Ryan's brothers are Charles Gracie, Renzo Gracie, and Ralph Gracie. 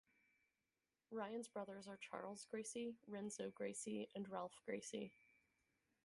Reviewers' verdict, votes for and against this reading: accepted, 4, 0